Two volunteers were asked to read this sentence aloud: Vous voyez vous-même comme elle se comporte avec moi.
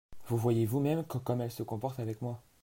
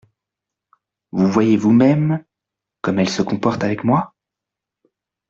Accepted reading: second